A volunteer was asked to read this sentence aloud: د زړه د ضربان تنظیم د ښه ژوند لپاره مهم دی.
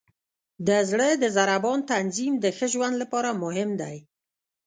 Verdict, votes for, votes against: rejected, 0, 2